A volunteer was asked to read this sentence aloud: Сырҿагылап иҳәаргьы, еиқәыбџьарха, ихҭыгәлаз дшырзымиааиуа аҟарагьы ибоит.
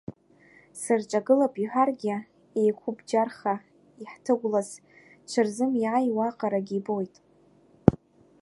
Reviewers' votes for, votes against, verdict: 1, 2, rejected